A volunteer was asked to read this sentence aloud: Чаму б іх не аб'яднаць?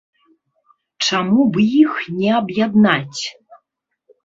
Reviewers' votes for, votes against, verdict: 1, 2, rejected